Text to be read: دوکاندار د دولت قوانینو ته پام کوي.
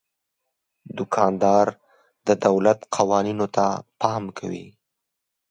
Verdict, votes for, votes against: accepted, 2, 0